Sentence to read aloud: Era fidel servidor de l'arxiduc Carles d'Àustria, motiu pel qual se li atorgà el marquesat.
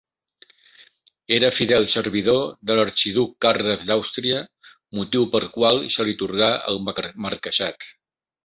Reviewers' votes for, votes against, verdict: 2, 3, rejected